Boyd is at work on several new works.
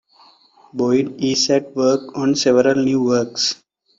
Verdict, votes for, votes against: accepted, 2, 0